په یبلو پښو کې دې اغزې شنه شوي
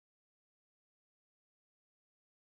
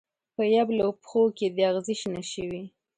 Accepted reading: second